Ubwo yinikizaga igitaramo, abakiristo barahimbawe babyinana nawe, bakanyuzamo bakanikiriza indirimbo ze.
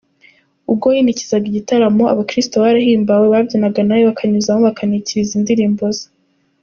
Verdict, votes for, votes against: accepted, 3, 0